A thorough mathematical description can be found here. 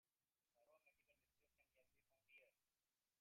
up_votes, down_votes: 0, 2